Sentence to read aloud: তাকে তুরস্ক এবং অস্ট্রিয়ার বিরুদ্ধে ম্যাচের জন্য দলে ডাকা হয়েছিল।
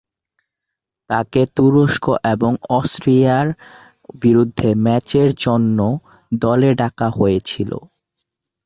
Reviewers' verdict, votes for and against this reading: accepted, 2, 1